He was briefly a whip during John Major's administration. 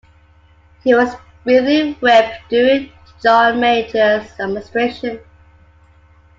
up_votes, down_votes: 0, 2